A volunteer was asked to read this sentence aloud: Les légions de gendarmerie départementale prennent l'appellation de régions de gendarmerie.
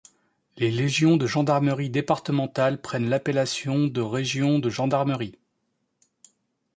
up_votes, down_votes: 2, 0